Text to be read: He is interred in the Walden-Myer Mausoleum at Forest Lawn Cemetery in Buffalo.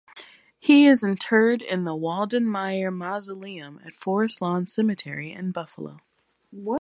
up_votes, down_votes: 0, 2